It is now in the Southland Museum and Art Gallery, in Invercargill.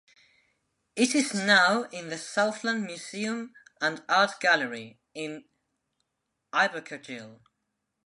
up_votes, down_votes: 1, 2